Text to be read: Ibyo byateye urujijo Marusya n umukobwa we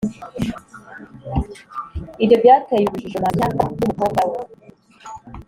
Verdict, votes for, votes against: accepted, 2, 0